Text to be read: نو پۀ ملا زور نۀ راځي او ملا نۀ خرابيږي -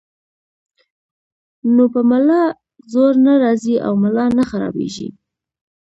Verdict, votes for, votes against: rejected, 1, 2